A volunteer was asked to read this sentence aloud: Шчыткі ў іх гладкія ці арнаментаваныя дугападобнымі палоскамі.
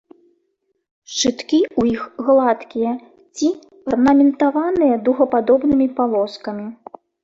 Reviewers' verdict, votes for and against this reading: accepted, 2, 0